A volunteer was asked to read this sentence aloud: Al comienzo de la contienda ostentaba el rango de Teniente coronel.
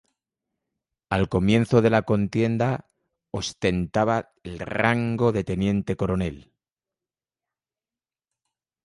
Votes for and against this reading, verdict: 0, 2, rejected